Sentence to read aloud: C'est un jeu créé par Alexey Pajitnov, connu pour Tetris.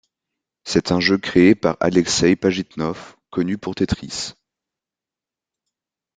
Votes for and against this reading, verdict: 2, 0, accepted